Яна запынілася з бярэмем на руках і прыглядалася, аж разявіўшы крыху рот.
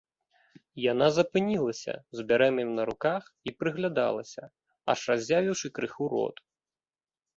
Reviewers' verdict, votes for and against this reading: accepted, 2, 0